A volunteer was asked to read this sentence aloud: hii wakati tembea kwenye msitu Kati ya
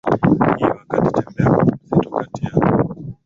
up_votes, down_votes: 0, 2